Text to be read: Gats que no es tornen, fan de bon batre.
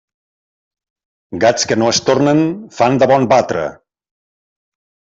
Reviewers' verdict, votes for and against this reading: accepted, 2, 0